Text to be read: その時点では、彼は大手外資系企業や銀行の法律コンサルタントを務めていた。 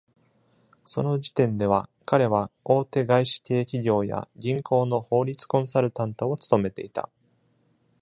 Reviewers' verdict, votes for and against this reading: accepted, 2, 0